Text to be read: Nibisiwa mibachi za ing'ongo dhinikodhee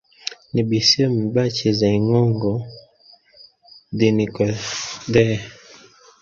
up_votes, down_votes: 1, 2